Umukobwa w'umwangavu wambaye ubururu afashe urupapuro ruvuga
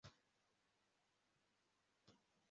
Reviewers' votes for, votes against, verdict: 0, 2, rejected